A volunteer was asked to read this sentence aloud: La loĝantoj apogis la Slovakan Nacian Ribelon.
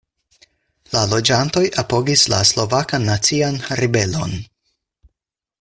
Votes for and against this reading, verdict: 4, 0, accepted